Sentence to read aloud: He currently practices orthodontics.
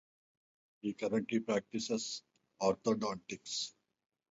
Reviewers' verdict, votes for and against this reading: accepted, 4, 0